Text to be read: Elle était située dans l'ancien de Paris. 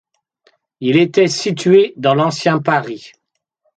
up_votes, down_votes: 0, 2